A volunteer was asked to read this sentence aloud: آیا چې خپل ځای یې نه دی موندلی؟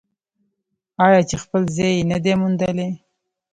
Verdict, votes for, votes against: accepted, 2, 0